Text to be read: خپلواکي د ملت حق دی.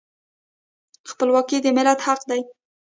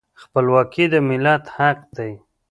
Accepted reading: first